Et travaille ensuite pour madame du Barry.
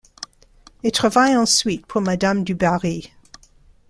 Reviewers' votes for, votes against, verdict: 2, 1, accepted